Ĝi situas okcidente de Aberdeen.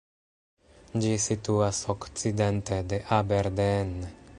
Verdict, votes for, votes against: rejected, 0, 2